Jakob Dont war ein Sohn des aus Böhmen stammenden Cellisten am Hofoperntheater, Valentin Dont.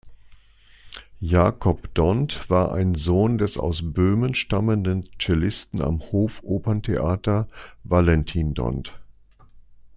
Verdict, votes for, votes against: accepted, 2, 0